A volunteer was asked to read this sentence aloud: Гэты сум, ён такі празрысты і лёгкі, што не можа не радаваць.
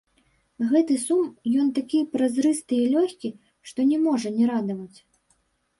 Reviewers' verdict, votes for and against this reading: rejected, 1, 2